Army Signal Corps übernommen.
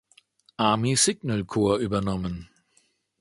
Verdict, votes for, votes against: accepted, 2, 0